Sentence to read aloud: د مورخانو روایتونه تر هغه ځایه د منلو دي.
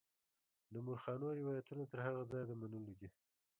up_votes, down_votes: 0, 2